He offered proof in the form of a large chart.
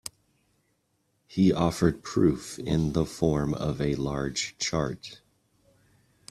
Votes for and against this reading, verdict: 2, 0, accepted